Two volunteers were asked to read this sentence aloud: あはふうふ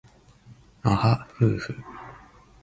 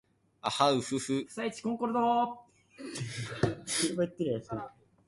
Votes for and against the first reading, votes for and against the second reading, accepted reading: 4, 0, 0, 2, first